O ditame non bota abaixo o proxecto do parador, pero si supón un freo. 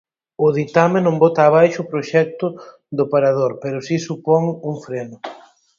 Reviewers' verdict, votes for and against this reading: rejected, 2, 4